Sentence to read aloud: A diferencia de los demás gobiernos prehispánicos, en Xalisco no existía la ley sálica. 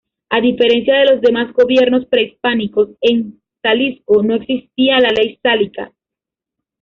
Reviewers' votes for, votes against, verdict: 0, 2, rejected